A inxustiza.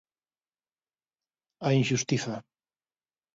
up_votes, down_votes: 2, 0